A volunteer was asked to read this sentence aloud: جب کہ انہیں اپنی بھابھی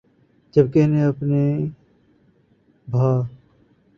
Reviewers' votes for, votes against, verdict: 1, 3, rejected